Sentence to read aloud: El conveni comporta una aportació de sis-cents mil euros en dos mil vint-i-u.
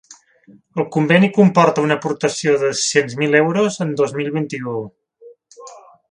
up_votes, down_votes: 1, 2